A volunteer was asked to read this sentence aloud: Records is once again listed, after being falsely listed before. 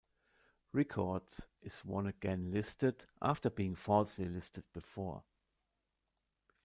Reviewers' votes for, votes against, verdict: 0, 2, rejected